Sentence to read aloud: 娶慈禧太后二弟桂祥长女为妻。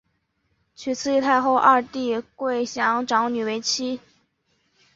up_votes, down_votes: 1, 2